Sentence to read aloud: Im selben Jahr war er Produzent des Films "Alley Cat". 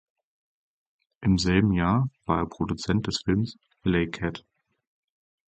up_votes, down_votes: 4, 0